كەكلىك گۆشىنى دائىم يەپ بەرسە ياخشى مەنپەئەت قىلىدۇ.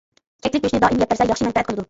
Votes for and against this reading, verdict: 1, 2, rejected